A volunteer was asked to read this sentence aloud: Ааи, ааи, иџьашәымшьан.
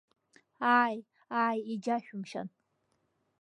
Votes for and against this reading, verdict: 2, 0, accepted